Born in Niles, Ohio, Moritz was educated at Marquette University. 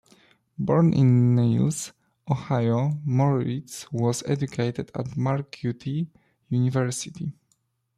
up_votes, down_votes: 0, 2